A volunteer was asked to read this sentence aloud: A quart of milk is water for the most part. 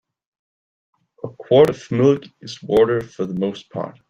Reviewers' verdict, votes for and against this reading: rejected, 1, 2